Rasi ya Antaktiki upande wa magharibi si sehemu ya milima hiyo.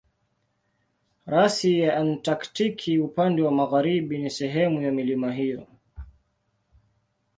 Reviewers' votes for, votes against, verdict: 2, 0, accepted